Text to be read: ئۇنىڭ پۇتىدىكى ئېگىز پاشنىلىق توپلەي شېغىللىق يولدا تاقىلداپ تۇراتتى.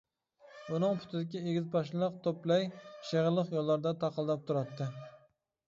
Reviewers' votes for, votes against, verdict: 0, 2, rejected